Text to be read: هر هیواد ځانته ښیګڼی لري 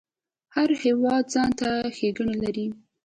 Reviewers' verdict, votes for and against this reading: accepted, 2, 0